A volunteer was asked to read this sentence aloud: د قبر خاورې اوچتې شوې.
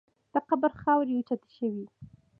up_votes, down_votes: 2, 0